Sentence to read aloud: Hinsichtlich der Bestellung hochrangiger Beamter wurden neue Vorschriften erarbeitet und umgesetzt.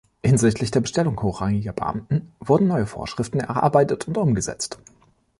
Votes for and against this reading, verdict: 1, 2, rejected